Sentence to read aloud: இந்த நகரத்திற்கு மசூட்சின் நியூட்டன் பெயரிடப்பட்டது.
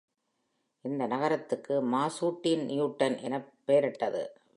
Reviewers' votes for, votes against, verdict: 0, 2, rejected